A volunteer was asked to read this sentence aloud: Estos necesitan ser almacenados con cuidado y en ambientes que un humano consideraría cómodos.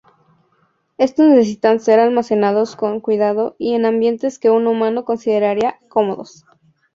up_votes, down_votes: 2, 0